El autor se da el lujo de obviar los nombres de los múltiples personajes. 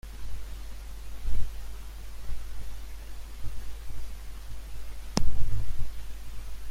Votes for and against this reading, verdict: 0, 2, rejected